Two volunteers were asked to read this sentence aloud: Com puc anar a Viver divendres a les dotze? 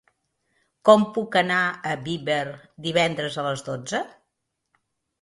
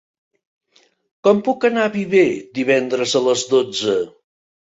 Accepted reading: second